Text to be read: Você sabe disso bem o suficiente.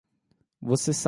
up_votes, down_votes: 0, 2